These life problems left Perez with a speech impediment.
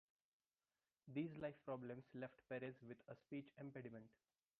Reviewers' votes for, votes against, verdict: 1, 3, rejected